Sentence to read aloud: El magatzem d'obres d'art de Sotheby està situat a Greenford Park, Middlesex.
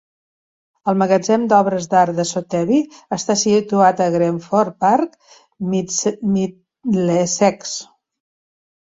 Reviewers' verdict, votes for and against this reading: rejected, 0, 4